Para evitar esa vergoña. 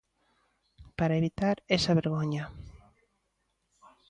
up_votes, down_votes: 2, 0